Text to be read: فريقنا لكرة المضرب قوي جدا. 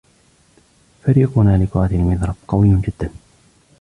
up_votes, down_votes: 1, 2